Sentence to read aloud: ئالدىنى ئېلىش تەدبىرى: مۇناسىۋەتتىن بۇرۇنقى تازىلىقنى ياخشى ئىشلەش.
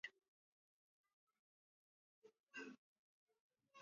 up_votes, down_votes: 0, 2